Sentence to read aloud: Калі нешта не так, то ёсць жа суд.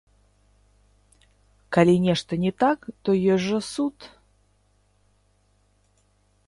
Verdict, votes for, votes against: rejected, 0, 3